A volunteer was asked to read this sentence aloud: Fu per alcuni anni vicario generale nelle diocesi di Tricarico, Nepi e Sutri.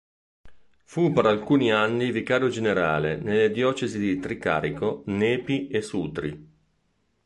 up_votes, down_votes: 1, 2